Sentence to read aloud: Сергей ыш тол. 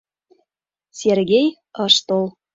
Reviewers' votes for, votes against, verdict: 2, 0, accepted